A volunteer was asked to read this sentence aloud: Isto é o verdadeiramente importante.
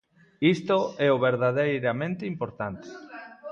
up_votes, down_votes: 0, 2